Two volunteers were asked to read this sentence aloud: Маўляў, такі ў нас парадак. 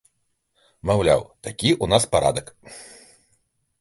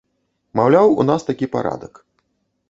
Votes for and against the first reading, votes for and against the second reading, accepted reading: 2, 1, 0, 2, first